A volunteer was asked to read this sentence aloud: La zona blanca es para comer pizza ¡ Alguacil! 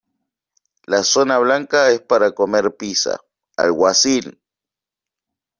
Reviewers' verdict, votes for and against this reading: accepted, 2, 1